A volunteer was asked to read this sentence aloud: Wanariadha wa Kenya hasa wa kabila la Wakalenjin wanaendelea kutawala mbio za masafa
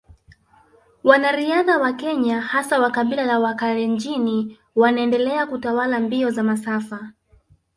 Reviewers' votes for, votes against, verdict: 1, 2, rejected